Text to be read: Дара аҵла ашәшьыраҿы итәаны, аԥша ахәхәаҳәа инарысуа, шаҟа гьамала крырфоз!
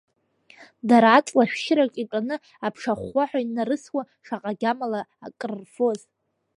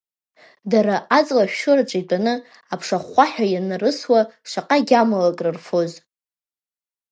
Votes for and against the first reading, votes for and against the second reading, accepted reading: 1, 2, 3, 1, second